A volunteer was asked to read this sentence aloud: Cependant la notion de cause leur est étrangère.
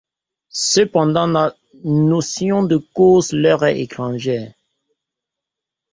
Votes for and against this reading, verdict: 1, 2, rejected